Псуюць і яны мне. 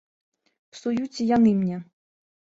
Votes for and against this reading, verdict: 2, 0, accepted